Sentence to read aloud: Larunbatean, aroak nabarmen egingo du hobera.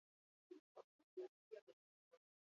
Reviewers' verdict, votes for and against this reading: rejected, 0, 4